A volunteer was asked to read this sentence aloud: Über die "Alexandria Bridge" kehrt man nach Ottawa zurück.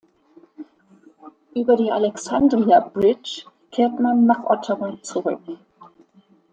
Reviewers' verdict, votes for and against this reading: accepted, 2, 0